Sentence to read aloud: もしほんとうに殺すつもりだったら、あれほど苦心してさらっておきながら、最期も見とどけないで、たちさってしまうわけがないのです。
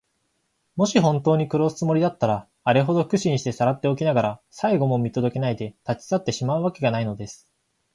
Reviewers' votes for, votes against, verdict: 2, 0, accepted